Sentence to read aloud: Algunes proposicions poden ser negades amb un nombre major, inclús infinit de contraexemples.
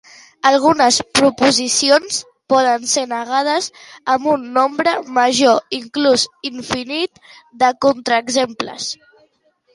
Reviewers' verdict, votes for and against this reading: accepted, 2, 1